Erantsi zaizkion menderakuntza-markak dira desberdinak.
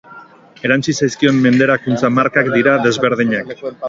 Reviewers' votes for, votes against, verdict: 6, 0, accepted